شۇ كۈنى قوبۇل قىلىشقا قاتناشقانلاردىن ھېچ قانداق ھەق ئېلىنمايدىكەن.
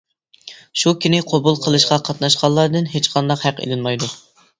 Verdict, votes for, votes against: rejected, 0, 2